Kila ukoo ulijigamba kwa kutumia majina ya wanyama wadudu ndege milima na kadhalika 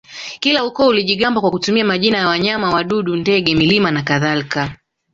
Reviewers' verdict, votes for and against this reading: accepted, 2, 1